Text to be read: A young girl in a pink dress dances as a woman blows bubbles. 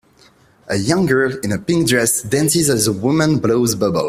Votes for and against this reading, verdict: 2, 1, accepted